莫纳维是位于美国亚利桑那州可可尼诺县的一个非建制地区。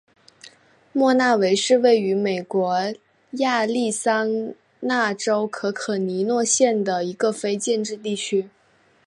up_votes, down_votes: 5, 1